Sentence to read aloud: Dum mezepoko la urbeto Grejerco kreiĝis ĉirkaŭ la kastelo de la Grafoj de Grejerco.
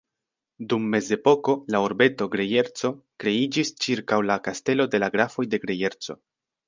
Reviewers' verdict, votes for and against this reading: accepted, 2, 0